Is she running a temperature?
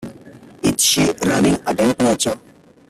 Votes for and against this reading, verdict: 0, 2, rejected